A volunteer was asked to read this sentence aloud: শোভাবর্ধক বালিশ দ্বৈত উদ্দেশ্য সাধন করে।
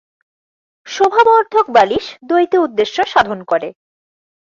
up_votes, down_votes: 2, 0